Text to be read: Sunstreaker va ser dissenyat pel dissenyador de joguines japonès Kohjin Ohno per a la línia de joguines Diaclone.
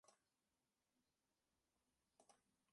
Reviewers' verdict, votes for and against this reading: rejected, 0, 2